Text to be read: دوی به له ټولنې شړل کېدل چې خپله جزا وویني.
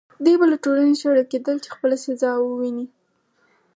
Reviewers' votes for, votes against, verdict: 4, 0, accepted